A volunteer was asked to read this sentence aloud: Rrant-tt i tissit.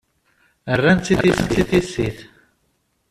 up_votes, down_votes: 0, 2